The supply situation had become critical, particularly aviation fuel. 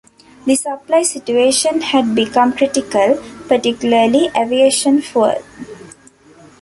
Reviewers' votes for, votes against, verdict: 2, 1, accepted